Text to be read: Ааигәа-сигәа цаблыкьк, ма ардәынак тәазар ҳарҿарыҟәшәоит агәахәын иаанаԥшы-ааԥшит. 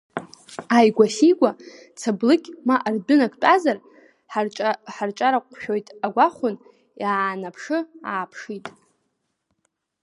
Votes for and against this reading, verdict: 2, 0, accepted